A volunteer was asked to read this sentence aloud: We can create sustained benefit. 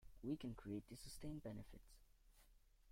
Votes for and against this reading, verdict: 0, 2, rejected